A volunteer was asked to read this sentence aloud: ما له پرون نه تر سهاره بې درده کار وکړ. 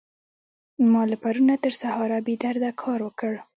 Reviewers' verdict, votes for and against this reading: rejected, 0, 2